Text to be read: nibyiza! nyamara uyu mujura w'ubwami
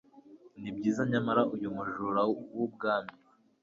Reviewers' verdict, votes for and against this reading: accepted, 2, 0